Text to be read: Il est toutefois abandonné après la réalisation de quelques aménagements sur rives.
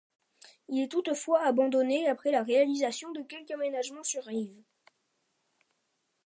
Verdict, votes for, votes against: accepted, 2, 1